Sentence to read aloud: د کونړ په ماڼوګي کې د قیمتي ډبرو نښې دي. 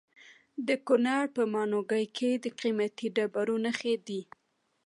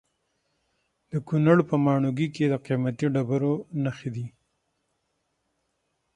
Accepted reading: second